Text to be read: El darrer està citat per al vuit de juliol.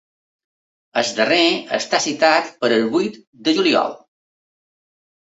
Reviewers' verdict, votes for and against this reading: accepted, 2, 1